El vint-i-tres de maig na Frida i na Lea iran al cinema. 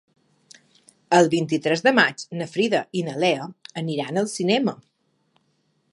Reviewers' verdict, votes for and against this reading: rejected, 1, 2